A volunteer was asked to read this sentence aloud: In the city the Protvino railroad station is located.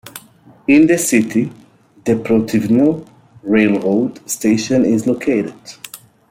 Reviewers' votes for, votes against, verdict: 1, 2, rejected